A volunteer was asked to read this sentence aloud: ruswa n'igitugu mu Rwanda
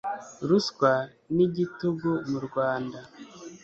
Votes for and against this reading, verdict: 2, 0, accepted